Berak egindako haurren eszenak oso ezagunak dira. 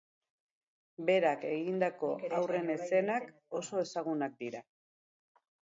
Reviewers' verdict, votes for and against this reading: rejected, 2, 2